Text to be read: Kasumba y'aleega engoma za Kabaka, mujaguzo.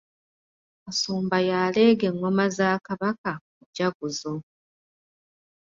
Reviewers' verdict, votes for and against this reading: accepted, 2, 0